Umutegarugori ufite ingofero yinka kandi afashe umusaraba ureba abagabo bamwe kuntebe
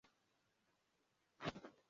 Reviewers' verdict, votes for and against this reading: rejected, 0, 2